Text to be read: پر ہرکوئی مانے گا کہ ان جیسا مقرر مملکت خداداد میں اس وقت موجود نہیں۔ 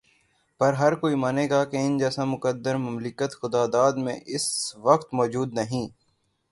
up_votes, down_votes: 0, 3